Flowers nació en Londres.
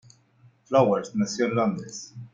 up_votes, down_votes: 2, 0